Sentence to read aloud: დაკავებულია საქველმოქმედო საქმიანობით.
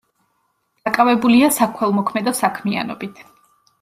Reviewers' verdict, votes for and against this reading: accepted, 2, 0